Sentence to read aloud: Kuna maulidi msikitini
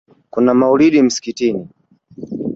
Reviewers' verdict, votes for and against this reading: accepted, 3, 0